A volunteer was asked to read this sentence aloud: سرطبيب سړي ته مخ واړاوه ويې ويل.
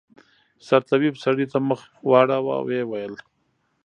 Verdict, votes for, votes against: rejected, 1, 2